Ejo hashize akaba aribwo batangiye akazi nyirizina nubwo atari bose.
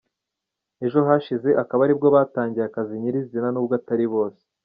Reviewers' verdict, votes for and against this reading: accepted, 2, 0